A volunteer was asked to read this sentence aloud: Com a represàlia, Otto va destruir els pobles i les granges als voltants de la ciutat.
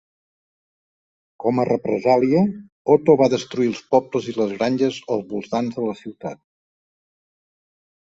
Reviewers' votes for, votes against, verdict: 2, 0, accepted